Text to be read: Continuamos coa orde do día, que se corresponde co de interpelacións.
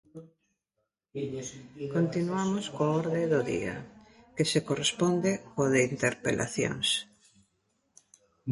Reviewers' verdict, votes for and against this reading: rejected, 0, 2